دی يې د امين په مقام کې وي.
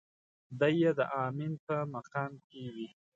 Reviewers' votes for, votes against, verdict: 2, 0, accepted